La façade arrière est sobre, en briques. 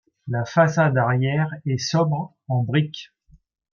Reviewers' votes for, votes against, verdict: 2, 0, accepted